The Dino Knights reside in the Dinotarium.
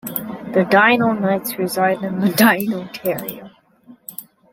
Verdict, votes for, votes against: rejected, 1, 2